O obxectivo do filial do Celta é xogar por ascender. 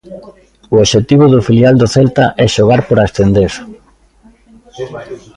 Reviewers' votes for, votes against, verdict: 1, 2, rejected